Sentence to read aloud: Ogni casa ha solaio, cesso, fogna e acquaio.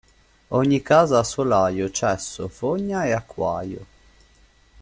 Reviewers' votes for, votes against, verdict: 2, 0, accepted